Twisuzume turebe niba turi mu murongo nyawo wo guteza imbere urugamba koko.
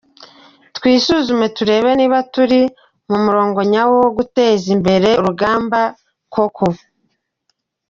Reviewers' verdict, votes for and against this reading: rejected, 0, 2